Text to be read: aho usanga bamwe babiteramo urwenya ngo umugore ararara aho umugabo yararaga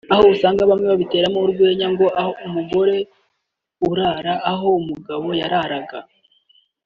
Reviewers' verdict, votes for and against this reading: rejected, 2, 3